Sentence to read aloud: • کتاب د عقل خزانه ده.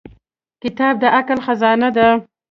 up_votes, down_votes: 2, 0